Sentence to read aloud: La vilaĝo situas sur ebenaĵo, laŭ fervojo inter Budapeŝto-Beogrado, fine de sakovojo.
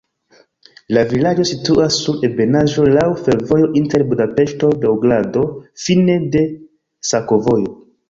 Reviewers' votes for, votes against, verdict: 2, 1, accepted